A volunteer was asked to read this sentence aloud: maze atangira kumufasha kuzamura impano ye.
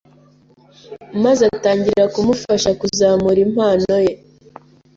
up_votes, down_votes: 2, 0